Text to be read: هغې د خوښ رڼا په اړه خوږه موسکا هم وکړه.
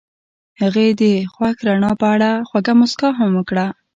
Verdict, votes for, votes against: accepted, 2, 0